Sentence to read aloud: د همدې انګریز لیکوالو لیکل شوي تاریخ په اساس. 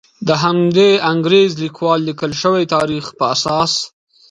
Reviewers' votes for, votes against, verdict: 2, 0, accepted